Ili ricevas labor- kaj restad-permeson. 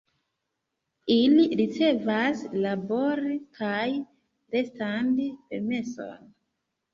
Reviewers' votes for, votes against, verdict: 1, 2, rejected